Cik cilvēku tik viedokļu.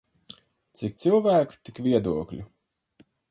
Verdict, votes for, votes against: accepted, 4, 0